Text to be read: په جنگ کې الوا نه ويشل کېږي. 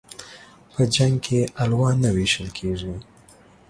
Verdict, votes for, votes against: accepted, 2, 0